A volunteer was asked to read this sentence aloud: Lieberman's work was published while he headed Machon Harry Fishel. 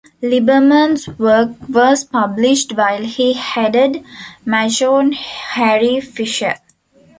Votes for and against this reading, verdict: 0, 2, rejected